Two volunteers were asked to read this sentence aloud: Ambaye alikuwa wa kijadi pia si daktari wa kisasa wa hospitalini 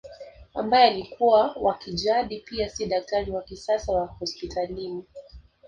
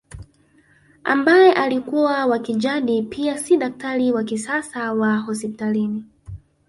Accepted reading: first